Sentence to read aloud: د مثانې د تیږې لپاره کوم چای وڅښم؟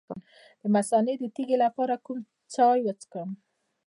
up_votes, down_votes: 0, 2